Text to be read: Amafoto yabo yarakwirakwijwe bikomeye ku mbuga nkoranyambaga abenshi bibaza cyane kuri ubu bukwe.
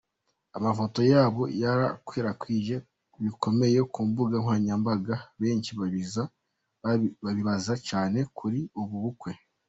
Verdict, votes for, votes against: rejected, 0, 2